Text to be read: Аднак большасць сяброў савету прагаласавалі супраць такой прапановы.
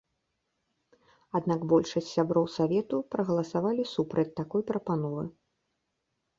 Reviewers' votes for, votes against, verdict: 2, 0, accepted